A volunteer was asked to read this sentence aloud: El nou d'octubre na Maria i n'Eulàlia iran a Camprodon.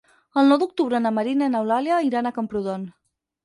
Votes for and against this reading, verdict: 2, 4, rejected